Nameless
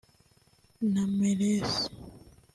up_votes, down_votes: 1, 2